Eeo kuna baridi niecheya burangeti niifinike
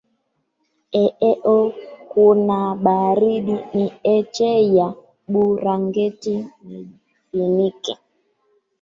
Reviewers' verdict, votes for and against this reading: rejected, 0, 2